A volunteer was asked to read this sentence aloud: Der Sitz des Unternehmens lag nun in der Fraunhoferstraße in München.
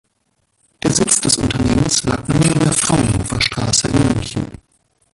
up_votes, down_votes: 1, 2